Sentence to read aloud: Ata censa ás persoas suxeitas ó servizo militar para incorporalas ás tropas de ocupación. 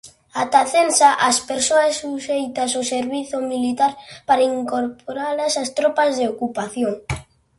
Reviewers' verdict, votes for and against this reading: accepted, 2, 0